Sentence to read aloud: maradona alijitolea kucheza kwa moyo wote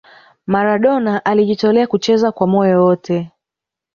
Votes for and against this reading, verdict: 0, 2, rejected